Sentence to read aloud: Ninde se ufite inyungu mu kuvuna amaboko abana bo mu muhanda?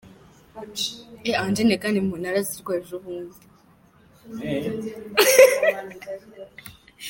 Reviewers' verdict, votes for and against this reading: rejected, 0, 2